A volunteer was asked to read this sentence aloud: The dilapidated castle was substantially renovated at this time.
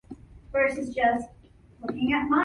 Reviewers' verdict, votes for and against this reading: rejected, 0, 2